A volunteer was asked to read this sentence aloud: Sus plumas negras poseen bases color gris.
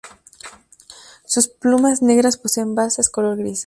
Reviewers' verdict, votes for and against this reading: accepted, 2, 0